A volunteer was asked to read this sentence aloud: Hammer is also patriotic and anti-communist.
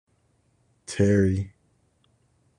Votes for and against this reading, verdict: 0, 2, rejected